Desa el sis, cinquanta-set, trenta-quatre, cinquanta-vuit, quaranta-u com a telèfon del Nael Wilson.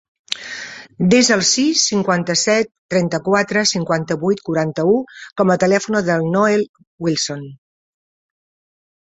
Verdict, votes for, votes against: rejected, 0, 2